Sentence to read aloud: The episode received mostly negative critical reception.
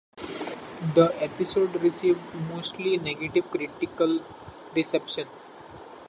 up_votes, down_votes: 2, 0